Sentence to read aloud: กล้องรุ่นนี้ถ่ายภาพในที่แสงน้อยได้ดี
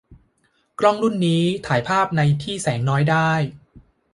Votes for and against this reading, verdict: 0, 2, rejected